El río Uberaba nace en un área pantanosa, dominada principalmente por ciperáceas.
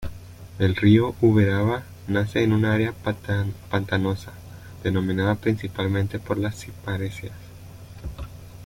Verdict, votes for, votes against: rejected, 0, 2